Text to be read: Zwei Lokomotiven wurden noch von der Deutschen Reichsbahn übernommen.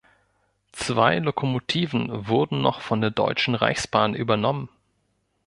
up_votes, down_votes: 2, 0